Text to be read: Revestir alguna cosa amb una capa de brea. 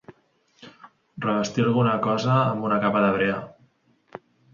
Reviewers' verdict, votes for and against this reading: accepted, 3, 0